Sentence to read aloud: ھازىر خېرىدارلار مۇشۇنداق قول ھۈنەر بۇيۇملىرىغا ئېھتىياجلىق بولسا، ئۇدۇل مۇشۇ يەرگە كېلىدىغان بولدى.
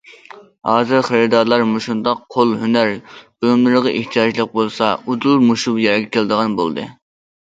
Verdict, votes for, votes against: rejected, 1, 2